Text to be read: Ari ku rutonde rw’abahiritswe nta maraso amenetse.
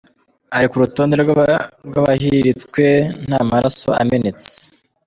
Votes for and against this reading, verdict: 2, 0, accepted